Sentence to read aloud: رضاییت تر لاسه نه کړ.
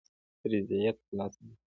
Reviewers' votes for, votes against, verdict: 2, 1, accepted